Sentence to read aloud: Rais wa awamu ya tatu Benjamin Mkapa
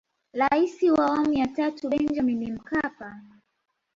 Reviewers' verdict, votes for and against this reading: rejected, 0, 2